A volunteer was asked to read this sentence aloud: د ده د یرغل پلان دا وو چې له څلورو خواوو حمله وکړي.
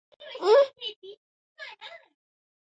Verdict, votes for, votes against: rejected, 0, 2